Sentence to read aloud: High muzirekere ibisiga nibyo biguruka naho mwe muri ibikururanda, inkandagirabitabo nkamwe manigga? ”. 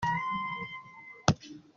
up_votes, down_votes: 0, 3